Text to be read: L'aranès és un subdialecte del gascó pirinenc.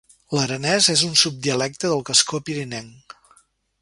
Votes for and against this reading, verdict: 3, 0, accepted